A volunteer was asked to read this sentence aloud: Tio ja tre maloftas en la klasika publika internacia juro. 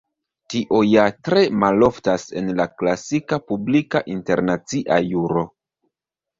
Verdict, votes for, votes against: rejected, 1, 2